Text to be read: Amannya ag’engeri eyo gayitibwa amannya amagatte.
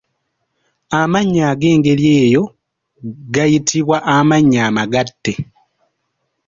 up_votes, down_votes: 2, 1